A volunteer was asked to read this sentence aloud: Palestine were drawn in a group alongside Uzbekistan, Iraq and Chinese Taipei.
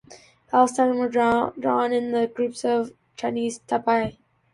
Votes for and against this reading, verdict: 0, 2, rejected